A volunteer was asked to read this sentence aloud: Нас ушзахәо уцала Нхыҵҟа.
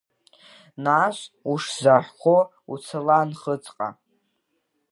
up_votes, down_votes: 1, 3